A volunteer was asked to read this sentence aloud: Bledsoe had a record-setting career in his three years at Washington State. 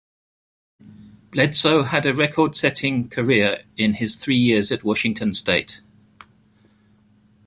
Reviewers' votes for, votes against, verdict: 2, 0, accepted